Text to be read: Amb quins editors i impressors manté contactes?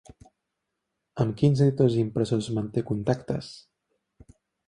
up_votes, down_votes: 2, 1